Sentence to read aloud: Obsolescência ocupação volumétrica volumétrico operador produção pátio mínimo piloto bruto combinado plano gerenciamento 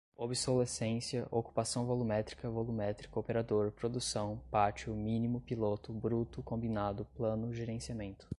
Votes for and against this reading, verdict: 3, 0, accepted